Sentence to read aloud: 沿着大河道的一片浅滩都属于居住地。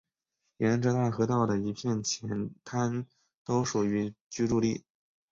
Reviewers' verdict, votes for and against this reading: accepted, 5, 0